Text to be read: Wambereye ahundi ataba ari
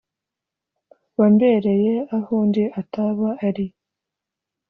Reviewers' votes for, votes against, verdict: 2, 0, accepted